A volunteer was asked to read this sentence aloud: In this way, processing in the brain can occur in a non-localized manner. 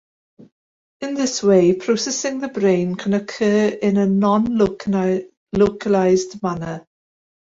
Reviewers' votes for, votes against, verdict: 1, 2, rejected